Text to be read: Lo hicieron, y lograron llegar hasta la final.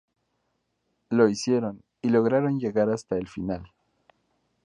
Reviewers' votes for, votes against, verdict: 0, 2, rejected